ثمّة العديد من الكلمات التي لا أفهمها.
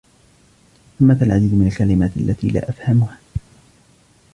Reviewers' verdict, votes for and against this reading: rejected, 0, 2